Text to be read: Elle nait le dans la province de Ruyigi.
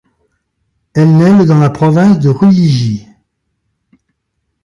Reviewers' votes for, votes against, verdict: 2, 0, accepted